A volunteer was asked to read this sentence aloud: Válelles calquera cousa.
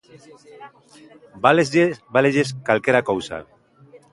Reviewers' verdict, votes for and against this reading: rejected, 0, 2